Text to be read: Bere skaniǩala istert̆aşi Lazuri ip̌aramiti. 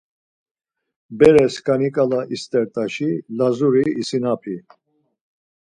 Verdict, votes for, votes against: rejected, 2, 4